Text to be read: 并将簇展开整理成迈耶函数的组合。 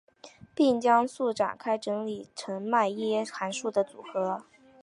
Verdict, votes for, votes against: rejected, 1, 2